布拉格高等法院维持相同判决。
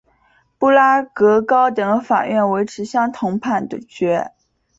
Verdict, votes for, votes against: accepted, 2, 0